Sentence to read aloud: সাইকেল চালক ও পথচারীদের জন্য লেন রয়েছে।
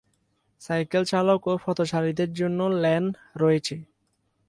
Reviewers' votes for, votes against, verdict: 2, 0, accepted